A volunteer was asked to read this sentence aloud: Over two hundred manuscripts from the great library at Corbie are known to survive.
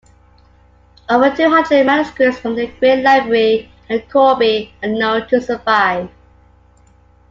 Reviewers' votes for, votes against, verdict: 2, 1, accepted